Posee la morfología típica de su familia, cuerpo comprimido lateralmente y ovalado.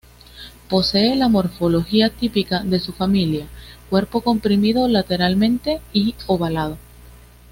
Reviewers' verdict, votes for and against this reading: accepted, 2, 0